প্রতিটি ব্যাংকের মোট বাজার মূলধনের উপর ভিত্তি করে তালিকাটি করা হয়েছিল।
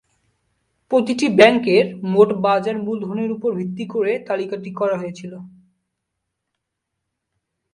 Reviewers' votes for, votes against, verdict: 2, 0, accepted